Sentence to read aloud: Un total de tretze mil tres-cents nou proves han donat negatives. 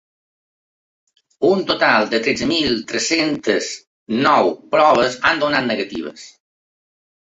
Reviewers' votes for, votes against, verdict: 1, 2, rejected